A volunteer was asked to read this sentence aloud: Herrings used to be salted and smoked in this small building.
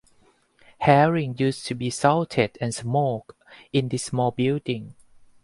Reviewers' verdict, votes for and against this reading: rejected, 2, 4